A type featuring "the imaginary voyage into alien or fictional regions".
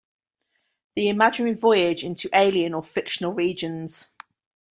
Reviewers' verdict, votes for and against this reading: rejected, 0, 2